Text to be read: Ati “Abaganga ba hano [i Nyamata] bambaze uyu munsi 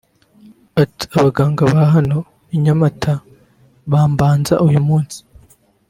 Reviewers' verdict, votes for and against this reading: rejected, 0, 2